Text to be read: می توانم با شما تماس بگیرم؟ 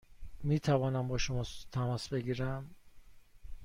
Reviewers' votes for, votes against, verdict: 2, 0, accepted